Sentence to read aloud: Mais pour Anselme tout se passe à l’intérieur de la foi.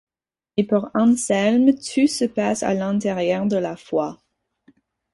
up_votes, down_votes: 2, 4